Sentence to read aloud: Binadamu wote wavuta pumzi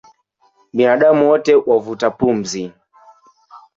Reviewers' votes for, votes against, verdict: 0, 2, rejected